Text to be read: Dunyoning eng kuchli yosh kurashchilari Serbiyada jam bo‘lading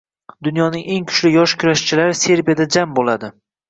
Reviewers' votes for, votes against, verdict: 2, 0, accepted